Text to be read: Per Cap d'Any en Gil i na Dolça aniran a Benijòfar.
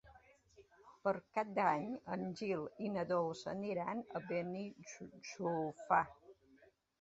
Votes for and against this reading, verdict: 1, 2, rejected